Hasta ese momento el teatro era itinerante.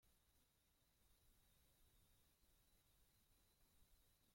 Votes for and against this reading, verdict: 0, 2, rejected